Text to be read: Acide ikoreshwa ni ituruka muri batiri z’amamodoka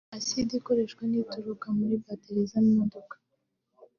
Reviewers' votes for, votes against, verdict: 0, 2, rejected